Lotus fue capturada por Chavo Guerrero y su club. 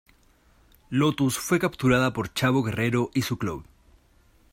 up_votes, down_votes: 2, 0